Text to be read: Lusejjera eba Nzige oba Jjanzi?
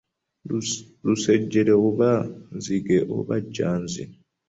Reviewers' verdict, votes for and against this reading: rejected, 1, 2